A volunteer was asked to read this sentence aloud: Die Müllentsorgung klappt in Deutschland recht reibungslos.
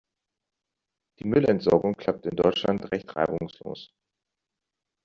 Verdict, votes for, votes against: accepted, 2, 0